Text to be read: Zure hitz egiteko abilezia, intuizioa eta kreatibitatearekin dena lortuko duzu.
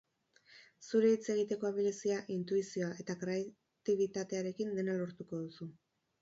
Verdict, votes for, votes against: accepted, 4, 0